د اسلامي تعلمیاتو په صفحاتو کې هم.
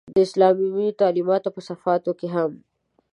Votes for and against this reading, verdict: 1, 2, rejected